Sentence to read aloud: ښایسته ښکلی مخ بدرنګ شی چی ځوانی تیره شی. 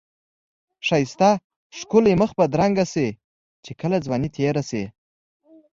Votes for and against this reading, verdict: 2, 0, accepted